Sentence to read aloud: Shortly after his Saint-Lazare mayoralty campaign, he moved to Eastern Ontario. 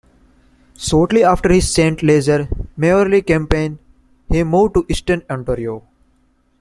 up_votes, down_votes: 2, 1